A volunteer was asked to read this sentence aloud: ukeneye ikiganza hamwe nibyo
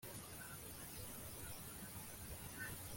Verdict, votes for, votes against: rejected, 0, 2